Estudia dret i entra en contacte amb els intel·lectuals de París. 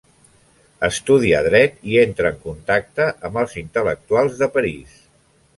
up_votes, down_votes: 2, 0